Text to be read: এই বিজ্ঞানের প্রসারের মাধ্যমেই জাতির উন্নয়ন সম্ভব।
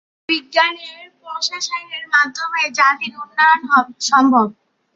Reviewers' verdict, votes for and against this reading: rejected, 0, 3